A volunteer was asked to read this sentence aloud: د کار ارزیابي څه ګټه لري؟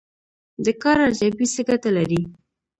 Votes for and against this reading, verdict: 2, 0, accepted